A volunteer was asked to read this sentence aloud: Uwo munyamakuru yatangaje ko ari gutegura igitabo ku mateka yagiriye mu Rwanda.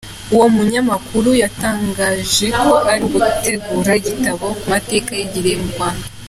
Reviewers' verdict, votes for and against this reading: accepted, 2, 0